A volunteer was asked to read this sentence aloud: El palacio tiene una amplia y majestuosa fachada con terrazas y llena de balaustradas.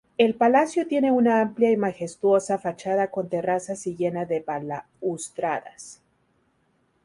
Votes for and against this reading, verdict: 0, 2, rejected